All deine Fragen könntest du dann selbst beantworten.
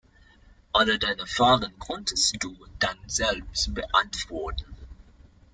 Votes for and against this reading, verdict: 1, 2, rejected